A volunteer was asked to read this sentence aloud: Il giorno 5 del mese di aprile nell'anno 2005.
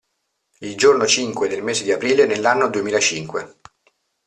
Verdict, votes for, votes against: rejected, 0, 2